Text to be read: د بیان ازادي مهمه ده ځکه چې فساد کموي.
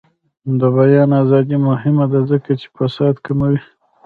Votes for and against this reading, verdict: 0, 2, rejected